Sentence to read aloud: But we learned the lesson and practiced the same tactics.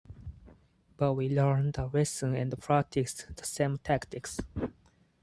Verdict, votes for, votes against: rejected, 0, 4